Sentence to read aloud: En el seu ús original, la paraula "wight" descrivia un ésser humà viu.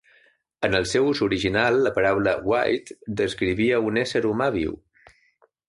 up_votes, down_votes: 2, 0